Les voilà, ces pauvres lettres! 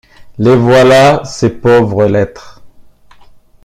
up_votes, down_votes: 1, 2